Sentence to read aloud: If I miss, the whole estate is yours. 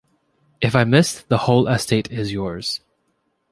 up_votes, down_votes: 2, 0